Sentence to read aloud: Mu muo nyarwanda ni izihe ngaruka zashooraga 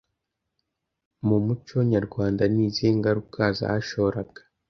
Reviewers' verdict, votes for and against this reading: rejected, 1, 2